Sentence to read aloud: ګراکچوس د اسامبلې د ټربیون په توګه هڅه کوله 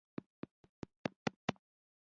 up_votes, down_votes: 1, 2